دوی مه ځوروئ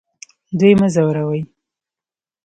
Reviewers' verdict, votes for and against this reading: accepted, 2, 0